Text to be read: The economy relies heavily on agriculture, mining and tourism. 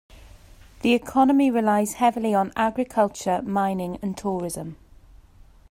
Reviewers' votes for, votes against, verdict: 2, 0, accepted